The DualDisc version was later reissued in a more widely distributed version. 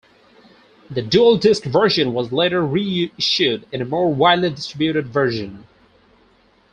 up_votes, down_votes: 4, 2